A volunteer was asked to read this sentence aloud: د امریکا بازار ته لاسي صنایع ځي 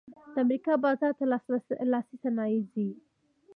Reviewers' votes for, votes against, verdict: 2, 1, accepted